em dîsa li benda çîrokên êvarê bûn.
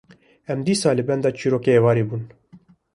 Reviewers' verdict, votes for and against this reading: accepted, 2, 0